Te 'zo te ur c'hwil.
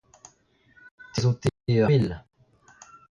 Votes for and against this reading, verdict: 0, 2, rejected